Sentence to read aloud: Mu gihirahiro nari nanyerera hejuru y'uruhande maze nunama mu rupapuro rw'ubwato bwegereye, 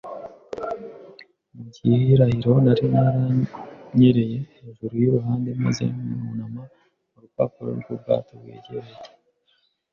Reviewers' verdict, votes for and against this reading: rejected, 1, 2